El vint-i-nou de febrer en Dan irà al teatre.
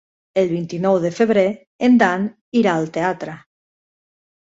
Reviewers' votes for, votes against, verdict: 3, 0, accepted